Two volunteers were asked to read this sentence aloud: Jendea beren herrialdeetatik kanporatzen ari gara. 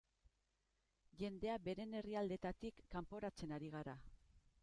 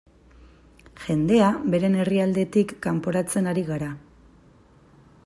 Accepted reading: first